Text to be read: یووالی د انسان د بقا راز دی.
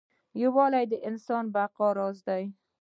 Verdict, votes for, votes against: accepted, 2, 0